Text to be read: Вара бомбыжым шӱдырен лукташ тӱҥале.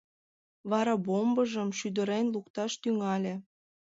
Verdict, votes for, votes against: accepted, 2, 0